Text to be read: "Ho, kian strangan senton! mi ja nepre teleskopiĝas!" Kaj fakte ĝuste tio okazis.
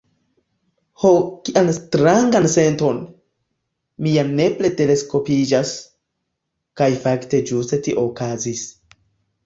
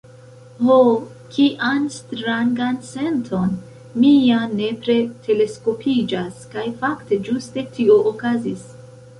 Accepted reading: first